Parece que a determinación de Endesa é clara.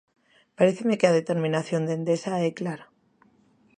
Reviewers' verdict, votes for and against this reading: rejected, 0, 2